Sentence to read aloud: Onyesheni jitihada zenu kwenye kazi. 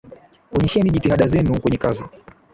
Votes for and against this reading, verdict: 4, 10, rejected